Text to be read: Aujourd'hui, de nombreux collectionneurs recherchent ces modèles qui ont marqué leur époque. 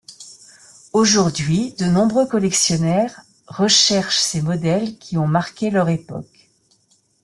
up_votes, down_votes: 0, 2